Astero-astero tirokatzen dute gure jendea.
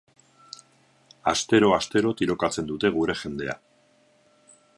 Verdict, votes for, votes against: rejected, 2, 2